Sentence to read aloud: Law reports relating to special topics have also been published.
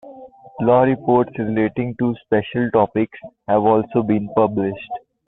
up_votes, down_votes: 2, 0